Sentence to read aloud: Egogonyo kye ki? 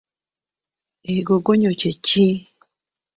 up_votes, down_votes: 1, 2